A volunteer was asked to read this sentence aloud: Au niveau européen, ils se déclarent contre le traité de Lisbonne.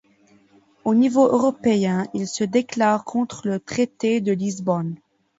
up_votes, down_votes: 2, 1